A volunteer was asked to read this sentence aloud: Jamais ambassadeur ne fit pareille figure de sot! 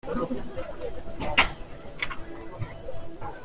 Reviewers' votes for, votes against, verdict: 0, 2, rejected